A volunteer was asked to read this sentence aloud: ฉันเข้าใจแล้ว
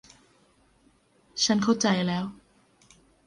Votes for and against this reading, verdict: 2, 0, accepted